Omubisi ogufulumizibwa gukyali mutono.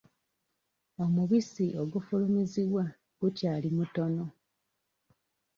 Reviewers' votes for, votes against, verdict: 2, 1, accepted